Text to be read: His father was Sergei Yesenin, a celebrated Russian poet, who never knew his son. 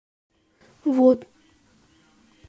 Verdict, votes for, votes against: rejected, 0, 2